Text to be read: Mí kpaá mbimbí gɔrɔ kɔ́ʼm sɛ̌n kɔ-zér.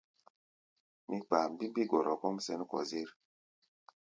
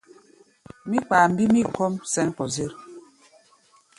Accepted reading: first